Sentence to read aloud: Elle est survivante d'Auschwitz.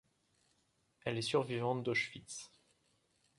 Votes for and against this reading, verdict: 2, 0, accepted